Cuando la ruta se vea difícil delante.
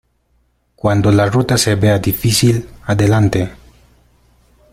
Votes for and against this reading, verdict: 0, 2, rejected